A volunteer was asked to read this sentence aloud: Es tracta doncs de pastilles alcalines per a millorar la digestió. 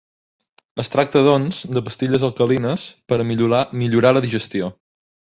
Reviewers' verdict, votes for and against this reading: rejected, 0, 2